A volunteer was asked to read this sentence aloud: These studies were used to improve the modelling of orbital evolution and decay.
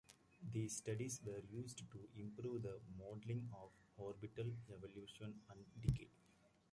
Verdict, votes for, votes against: accepted, 2, 0